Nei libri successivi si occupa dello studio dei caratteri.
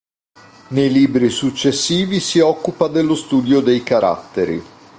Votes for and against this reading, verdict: 2, 0, accepted